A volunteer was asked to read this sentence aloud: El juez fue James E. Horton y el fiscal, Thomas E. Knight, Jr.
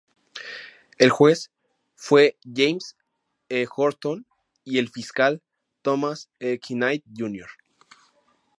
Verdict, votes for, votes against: accepted, 4, 0